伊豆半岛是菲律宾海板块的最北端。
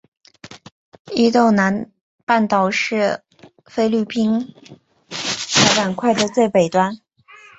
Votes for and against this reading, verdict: 3, 4, rejected